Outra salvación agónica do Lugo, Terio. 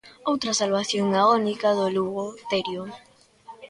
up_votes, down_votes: 0, 2